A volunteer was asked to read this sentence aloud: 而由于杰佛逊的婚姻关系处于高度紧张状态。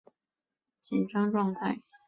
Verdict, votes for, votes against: rejected, 1, 2